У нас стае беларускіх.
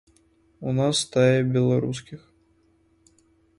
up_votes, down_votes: 1, 3